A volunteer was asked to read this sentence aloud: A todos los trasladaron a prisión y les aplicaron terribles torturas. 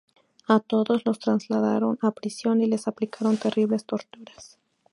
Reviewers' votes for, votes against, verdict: 4, 0, accepted